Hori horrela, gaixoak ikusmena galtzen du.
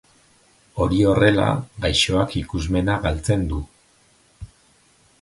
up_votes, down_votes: 2, 0